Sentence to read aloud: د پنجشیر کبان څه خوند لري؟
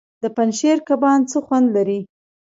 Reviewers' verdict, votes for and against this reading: rejected, 0, 2